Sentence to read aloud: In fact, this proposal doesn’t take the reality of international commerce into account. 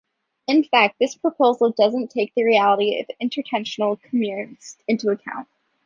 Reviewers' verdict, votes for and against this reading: rejected, 0, 2